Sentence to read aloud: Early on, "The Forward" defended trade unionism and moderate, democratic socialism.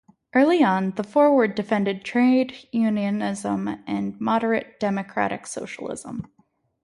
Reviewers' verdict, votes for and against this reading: accepted, 2, 0